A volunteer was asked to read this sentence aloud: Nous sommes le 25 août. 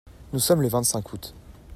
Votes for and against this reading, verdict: 0, 2, rejected